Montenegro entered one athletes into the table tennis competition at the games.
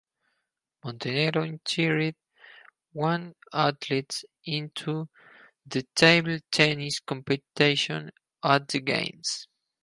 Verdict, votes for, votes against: rejected, 2, 2